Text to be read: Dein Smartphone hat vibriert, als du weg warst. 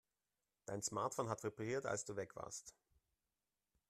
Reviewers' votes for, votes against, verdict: 1, 2, rejected